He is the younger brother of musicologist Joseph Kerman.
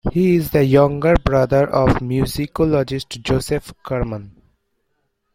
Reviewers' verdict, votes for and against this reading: accepted, 2, 0